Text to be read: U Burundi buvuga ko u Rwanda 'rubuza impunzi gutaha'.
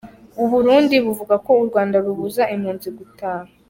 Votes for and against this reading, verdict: 1, 2, rejected